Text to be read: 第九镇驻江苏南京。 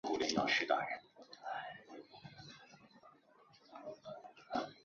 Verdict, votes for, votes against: rejected, 0, 6